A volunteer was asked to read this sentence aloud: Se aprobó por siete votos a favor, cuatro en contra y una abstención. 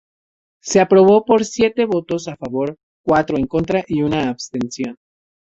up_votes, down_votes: 2, 0